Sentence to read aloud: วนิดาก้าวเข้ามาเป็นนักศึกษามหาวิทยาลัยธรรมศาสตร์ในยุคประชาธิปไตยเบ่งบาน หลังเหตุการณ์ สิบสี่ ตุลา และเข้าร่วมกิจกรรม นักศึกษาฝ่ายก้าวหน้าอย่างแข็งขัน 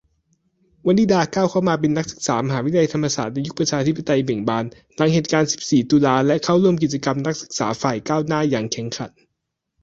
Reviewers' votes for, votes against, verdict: 2, 0, accepted